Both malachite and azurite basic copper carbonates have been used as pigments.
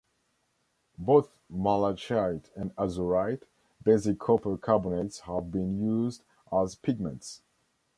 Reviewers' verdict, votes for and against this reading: rejected, 1, 2